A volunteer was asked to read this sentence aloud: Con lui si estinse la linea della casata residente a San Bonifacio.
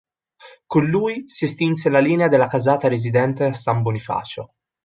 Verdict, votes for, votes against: accepted, 2, 0